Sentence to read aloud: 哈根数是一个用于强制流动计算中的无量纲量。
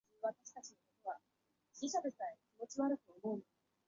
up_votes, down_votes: 0, 2